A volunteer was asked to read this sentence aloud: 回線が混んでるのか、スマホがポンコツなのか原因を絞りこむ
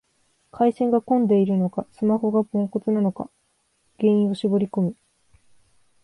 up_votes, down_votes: 2, 1